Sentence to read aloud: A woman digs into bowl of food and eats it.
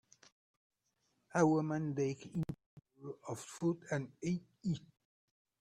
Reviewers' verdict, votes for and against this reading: rejected, 0, 2